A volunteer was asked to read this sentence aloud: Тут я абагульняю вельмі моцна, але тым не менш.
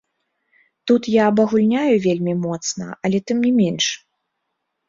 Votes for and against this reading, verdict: 0, 2, rejected